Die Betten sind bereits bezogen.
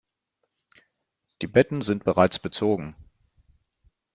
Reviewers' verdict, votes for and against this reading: rejected, 1, 2